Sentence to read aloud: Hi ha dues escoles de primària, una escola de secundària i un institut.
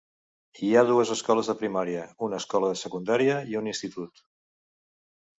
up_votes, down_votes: 2, 0